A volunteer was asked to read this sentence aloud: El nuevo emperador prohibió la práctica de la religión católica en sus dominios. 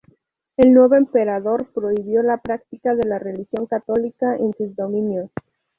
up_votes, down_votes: 0, 2